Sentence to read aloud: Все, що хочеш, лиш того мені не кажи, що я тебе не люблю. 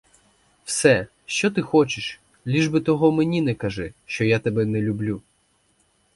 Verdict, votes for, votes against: rejected, 0, 4